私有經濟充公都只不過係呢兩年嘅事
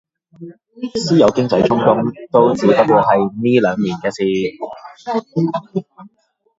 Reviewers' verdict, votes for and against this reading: rejected, 0, 2